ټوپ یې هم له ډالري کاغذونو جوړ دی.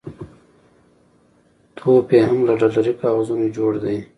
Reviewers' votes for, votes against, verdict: 1, 2, rejected